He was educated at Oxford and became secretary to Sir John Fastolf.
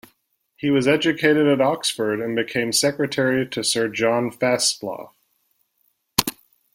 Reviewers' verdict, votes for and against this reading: rejected, 0, 2